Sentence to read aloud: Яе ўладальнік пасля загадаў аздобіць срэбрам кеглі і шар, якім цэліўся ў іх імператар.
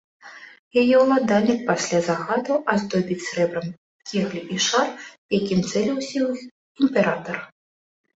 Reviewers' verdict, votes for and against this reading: accepted, 2, 0